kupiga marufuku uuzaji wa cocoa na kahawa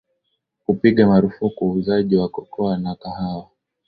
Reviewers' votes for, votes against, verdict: 2, 0, accepted